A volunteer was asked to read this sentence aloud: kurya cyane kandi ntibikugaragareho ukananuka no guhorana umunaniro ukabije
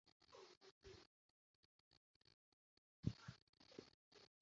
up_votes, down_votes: 0, 2